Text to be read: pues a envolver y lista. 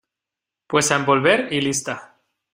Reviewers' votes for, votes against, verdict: 2, 0, accepted